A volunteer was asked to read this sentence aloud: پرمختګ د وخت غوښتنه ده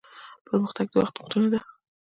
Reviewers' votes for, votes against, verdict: 1, 2, rejected